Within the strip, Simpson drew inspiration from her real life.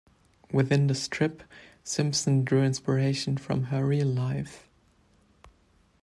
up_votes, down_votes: 2, 0